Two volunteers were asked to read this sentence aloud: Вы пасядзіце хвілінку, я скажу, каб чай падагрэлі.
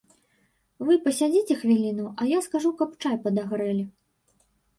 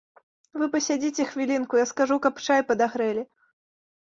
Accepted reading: second